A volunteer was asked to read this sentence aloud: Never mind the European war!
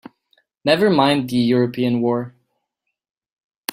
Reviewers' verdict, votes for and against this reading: accepted, 3, 0